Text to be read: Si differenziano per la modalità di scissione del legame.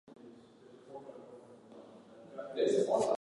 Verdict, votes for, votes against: rejected, 0, 2